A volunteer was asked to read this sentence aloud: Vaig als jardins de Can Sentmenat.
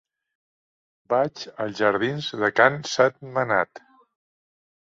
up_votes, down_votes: 2, 0